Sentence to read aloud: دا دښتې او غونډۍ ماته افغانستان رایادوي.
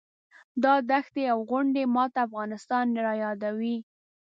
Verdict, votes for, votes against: rejected, 1, 2